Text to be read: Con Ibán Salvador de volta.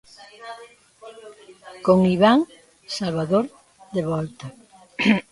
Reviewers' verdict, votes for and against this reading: rejected, 0, 2